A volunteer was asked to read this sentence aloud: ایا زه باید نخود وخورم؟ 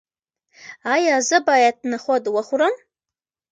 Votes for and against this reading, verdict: 2, 0, accepted